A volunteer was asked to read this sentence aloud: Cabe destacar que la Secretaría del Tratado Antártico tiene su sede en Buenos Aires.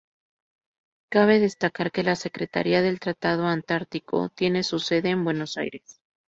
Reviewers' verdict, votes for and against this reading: accepted, 2, 0